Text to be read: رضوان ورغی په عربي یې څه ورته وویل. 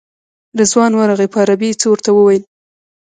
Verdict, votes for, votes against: rejected, 1, 2